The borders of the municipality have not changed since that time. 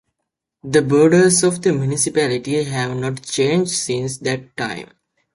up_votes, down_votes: 2, 1